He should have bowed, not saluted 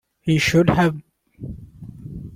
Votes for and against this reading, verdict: 0, 2, rejected